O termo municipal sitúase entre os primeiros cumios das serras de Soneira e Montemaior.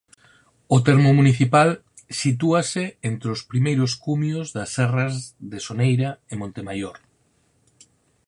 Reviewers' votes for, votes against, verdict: 4, 0, accepted